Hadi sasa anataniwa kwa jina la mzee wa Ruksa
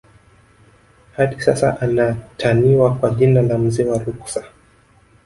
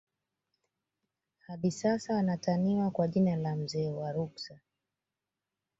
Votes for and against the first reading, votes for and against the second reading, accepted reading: 1, 2, 2, 0, second